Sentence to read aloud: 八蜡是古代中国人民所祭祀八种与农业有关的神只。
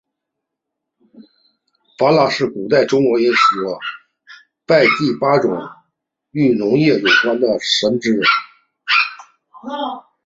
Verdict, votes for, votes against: accepted, 2, 1